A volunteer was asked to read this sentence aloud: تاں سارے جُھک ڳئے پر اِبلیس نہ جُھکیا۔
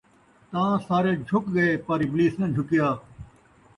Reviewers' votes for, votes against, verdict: 2, 0, accepted